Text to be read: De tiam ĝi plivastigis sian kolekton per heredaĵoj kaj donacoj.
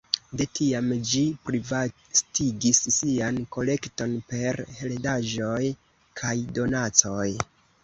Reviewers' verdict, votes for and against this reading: accepted, 2, 0